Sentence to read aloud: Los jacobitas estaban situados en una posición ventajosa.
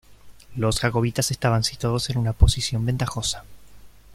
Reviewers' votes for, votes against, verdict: 2, 0, accepted